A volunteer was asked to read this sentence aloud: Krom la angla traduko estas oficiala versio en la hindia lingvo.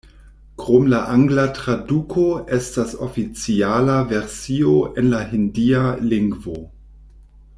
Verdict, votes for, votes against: accepted, 2, 0